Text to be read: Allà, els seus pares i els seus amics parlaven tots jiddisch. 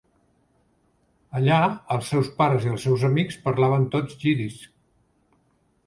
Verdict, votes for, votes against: accepted, 3, 0